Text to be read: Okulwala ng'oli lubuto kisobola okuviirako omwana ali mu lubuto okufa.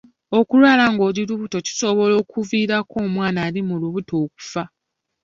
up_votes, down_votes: 2, 0